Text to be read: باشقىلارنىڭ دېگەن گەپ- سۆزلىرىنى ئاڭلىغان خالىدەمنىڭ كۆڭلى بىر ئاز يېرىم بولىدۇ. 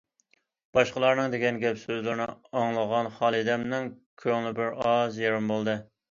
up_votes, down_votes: 1, 2